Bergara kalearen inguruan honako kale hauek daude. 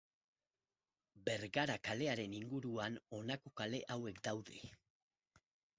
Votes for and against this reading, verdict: 4, 0, accepted